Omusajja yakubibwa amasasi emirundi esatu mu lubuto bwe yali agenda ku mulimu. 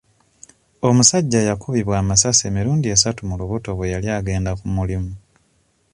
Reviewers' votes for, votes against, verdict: 2, 0, accepted